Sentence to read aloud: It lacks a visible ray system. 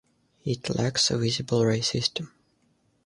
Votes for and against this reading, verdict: 2, 0, accepted